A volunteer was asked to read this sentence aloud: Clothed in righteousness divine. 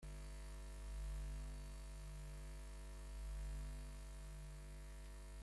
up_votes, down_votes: 0, 2